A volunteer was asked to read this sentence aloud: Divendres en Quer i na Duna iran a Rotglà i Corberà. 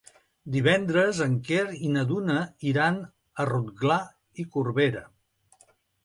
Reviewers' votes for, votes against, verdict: 3, 1, accepted